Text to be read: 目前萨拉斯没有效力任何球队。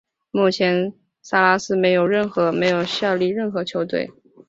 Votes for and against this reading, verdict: 1, 2, rejected